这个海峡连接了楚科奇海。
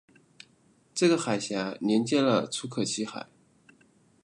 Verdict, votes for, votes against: accepted, 2, 0